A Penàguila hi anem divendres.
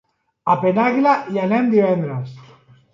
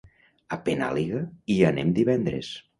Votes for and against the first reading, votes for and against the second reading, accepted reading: 2, 0, 0, 2, first